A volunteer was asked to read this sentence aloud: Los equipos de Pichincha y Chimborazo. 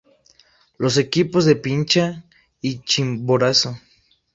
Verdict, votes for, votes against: accepted, 2, 0